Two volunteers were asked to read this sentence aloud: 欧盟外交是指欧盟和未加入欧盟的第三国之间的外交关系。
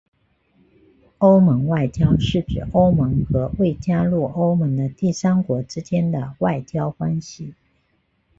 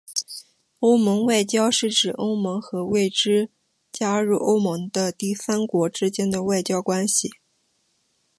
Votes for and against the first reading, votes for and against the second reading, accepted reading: 2, 0, 1, 3, first